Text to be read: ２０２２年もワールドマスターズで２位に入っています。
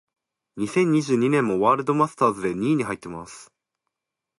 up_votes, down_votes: 0, 2